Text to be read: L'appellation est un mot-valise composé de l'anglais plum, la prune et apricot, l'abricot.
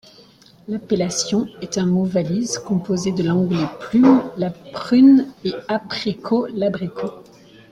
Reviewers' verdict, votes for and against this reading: accepted, 2, 1